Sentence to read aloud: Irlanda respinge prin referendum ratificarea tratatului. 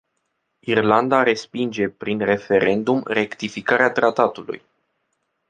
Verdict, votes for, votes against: rejected, 1, 2